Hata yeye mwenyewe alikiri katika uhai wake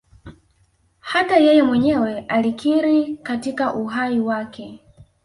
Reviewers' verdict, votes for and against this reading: accepted, 2, 0